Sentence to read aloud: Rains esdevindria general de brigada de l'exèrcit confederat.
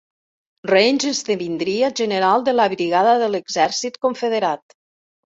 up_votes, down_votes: 1, 2